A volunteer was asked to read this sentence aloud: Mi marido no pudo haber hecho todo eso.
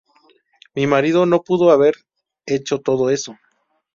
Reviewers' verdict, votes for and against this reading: accepted, 4, 0